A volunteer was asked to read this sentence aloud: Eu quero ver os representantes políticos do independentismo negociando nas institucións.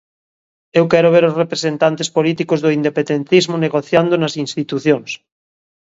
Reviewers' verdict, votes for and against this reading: rejected, 0, 2